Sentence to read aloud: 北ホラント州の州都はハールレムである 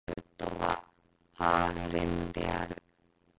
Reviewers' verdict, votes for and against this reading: rejected, 0, 3